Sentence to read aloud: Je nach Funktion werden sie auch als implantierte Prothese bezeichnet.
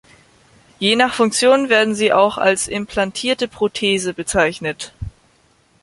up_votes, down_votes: 3, 0